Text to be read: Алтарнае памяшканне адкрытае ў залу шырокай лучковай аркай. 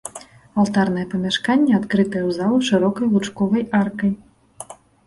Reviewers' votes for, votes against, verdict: 2, 0, accepted